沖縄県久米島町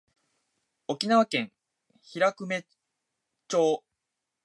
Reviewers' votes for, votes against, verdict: 0, 2, rejected